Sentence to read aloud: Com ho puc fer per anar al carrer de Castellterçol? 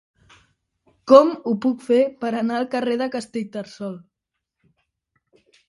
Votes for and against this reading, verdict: 1, 2, rejected